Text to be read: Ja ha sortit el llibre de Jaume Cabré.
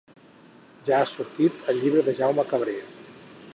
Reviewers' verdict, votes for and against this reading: rejected, 2, 4